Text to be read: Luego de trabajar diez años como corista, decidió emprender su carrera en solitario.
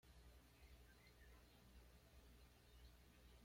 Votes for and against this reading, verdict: 1, 2, rejected